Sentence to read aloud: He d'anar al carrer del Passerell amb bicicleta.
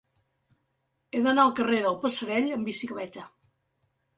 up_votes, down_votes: 2, 0